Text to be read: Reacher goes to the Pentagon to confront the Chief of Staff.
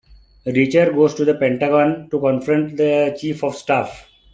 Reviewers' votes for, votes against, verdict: 2, 0, accepted